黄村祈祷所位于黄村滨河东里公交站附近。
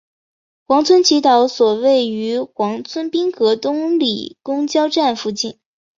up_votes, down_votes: 2, 0